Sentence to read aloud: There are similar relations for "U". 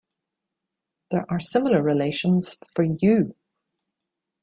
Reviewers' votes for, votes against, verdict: 2, 0, accepted